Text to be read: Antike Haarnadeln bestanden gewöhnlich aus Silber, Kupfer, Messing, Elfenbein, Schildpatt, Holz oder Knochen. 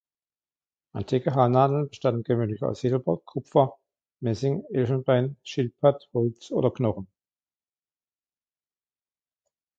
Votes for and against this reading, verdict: 2, 0, accepted